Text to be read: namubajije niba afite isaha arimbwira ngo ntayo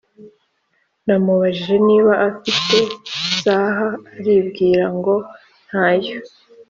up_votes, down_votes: 2, 0